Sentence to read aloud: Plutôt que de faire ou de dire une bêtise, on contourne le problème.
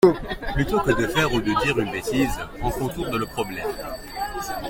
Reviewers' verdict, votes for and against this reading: accepted, 2, 1